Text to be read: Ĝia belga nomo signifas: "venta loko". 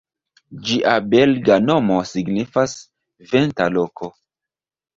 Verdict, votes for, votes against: accepted, 2, 0